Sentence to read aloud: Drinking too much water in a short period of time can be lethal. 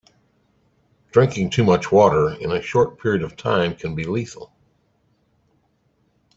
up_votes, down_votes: 3, 0